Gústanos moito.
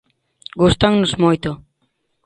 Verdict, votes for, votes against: rejected, 0, 2